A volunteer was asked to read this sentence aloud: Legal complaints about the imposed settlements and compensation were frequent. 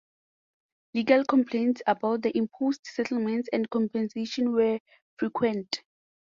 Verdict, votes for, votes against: accepted, 2, 0